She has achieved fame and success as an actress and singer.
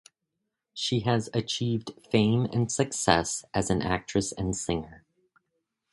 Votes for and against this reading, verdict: 2, 0, accepted